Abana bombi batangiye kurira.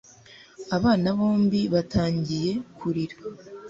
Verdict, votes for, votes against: accepted, 2, 0